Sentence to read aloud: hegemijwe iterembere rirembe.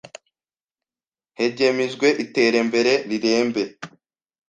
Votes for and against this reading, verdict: 1, 2, rejected